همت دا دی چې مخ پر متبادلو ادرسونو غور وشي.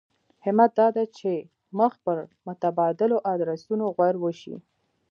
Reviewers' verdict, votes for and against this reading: accepted, 2, 1